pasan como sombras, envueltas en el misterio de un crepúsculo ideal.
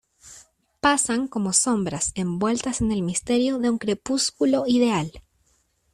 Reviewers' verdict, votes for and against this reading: accepted, 2, 0